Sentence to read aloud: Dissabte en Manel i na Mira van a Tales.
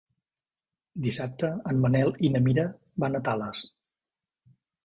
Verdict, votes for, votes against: accepted, 4, 0